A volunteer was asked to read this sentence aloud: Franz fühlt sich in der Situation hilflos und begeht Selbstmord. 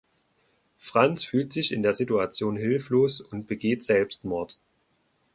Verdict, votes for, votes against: accepted, 2, 0